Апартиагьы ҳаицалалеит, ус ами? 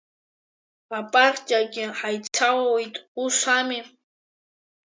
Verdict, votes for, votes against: accepted, 2, 1